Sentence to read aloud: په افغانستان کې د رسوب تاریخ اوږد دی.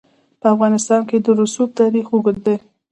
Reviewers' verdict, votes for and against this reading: accepted, 2, 0